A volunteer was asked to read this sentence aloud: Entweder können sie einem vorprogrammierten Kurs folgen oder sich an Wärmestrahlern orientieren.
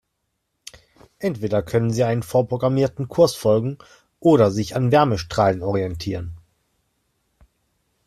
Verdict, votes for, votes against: rejected, 1, 2